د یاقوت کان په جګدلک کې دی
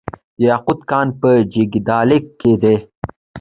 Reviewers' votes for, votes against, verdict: 2, 0, accepted